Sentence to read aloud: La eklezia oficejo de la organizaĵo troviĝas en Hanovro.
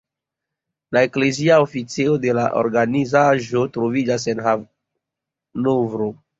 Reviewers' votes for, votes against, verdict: 2, 0, accepted